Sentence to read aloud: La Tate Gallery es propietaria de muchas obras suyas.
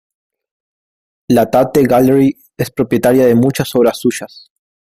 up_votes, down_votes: 2, 0